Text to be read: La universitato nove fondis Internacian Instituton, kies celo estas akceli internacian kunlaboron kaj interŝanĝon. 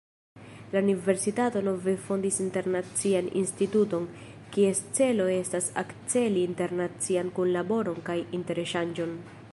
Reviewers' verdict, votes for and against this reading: accepted, 2, 1